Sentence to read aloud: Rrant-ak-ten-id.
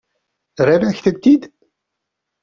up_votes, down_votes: 1, 2